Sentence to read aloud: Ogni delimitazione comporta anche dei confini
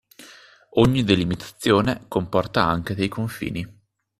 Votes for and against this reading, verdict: 2, 0, accepted